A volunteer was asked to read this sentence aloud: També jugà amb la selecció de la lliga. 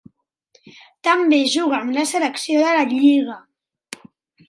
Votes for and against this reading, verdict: 3, 0, accepted